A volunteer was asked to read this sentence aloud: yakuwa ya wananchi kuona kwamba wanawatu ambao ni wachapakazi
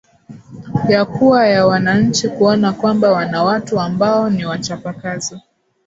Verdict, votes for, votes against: accepted, 6, 2